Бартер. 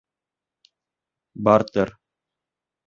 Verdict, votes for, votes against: accepted, 2, 0